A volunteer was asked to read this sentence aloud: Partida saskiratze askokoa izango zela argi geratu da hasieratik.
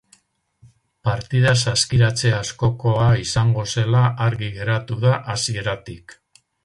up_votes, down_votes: 2, 2